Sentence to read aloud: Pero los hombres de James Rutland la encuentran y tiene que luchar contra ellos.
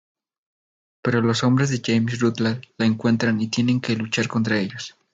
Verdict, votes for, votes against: accepted, 2, 0